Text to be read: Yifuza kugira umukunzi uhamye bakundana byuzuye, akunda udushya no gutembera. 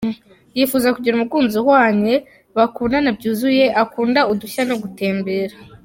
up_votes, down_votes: 0, 2